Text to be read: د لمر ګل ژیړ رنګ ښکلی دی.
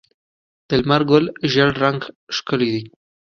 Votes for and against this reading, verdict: 2, 0, accepted